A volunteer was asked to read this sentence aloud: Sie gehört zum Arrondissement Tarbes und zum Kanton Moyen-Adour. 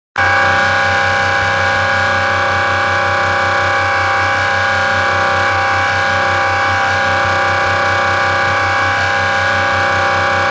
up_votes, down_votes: 0, 3